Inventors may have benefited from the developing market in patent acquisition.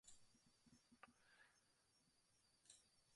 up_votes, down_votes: 0, 2